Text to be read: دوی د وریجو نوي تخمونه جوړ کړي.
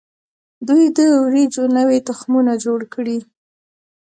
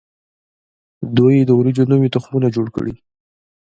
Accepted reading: first